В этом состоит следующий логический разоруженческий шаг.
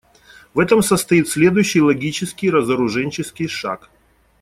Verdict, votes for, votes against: accepted, 2, 0